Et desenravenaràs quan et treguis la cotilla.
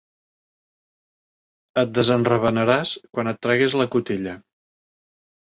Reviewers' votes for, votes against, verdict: 3, 0, accepted